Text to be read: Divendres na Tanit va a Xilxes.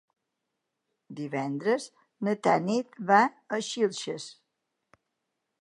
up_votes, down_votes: 3, 0